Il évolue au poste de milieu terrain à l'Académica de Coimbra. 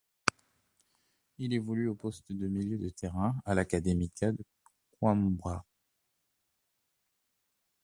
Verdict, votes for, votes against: rejected, 1, 2